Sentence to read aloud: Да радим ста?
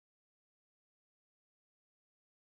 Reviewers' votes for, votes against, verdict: 0, 2, rejected